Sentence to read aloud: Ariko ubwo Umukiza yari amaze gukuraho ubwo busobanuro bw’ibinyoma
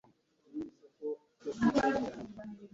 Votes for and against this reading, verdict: 0, 2, rejected